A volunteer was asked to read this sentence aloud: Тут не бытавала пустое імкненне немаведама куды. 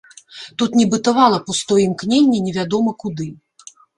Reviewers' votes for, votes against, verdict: 0, 2, rejected